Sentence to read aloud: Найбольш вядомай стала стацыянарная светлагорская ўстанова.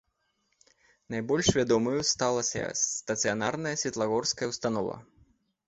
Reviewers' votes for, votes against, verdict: 2, 3, rejected